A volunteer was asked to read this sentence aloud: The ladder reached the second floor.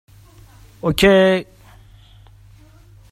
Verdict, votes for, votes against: rejected, 0, 2